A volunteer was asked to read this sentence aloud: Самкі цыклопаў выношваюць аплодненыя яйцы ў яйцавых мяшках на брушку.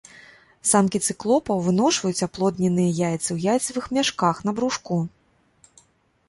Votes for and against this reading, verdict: 2, 0, accepted